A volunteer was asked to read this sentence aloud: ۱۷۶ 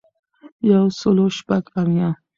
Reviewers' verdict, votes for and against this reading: rejected, 0, 2